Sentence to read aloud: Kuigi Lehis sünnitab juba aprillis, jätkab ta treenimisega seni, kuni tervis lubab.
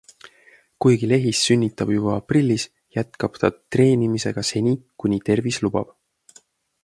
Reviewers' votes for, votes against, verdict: 2, 0, accepted